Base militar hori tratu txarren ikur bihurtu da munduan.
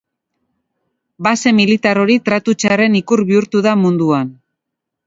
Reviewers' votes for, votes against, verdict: 3, 0, accepted